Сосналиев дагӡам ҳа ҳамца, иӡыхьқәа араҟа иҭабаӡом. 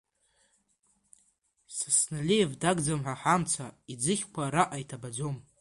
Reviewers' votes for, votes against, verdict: 2, 1, accepted